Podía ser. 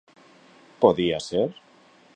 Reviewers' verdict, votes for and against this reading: accepted, 2, 0